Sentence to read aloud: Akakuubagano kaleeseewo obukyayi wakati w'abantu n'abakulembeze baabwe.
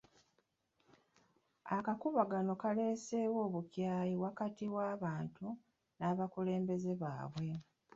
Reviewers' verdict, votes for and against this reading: rejected, 0, 2